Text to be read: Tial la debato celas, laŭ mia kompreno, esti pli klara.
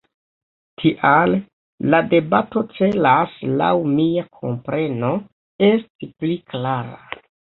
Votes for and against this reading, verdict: 2, 0, accepted